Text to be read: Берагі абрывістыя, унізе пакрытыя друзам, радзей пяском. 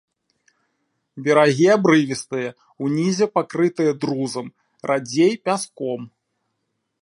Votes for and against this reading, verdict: 2, 0, accepted